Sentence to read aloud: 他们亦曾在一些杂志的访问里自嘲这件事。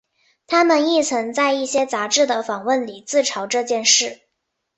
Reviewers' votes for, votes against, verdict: 2, 0, accepted